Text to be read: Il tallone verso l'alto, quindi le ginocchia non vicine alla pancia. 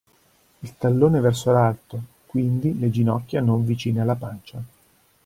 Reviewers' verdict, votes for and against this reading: accepted, 2, 0